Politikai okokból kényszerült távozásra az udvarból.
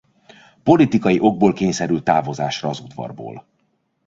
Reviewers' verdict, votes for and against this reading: rejected, 0, 2